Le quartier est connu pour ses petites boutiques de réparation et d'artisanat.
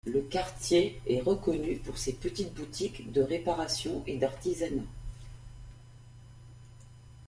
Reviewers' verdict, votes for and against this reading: rejected, 0, 2